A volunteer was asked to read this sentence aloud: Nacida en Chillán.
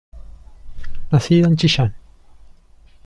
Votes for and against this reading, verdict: 1, 2, rejected